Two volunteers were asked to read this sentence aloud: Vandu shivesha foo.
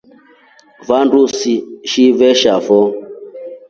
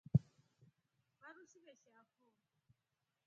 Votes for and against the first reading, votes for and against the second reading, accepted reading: 2, 0, 1, 4, first